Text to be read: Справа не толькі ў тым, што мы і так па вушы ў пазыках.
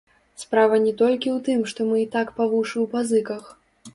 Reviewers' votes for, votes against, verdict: 0, 2, rejected